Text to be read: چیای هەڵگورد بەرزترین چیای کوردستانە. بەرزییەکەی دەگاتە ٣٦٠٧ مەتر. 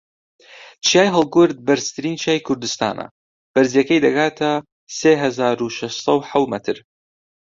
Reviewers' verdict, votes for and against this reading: rejected, 0, 2